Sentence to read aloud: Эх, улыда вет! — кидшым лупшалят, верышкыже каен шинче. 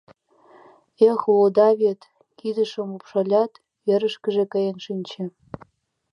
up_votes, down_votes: 0, 2